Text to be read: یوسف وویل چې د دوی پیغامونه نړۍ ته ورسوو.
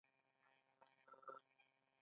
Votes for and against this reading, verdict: 0, 2, rejected